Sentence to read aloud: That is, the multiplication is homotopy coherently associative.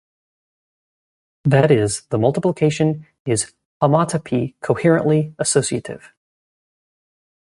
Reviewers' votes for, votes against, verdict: 2, 0, accepted